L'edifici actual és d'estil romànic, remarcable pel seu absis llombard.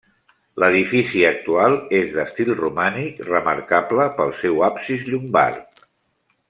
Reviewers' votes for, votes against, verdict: 3, 0, accepted